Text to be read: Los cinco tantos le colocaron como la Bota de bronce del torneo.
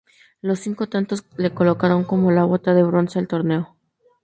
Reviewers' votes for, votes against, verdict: 0, 2, rejected